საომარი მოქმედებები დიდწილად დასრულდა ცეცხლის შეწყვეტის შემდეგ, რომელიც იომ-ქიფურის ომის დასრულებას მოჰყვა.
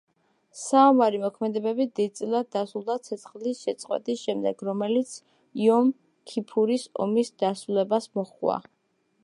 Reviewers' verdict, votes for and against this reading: accepted, 2, 0